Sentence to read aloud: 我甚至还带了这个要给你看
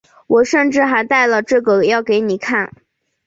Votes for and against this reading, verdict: 2, 0, accepted